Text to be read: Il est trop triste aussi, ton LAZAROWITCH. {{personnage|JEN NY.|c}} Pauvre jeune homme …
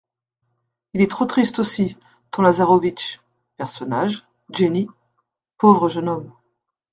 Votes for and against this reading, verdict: 0, 2, rejected